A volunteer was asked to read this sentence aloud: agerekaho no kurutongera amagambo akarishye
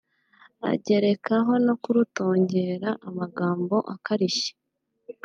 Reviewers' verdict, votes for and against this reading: accepted, 2, 0